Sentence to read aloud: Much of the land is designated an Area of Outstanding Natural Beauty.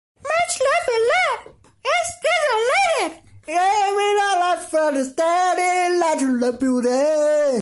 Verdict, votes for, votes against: rejected, 0, 2